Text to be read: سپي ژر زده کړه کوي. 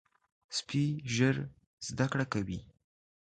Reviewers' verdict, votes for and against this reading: accepted, 2, 0